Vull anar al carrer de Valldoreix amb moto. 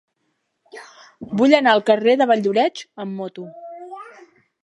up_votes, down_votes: 1, 2